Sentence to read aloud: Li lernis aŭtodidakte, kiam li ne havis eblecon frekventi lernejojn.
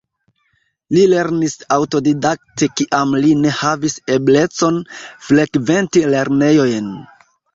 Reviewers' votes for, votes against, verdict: 1, 2, rejected